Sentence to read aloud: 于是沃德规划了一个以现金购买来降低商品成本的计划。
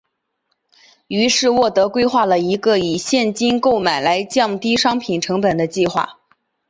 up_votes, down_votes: 2, 0